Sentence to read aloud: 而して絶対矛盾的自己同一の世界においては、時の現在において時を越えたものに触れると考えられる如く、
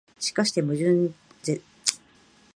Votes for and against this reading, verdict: 0, 2, rejected